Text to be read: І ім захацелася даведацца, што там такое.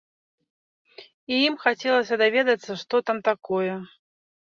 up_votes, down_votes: 0, 2